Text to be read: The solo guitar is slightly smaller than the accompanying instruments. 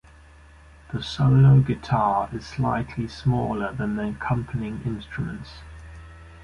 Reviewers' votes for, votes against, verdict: 2, 0, accepted